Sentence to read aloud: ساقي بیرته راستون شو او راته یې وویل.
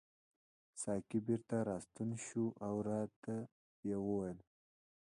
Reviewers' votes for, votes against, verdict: 2, 0, accepted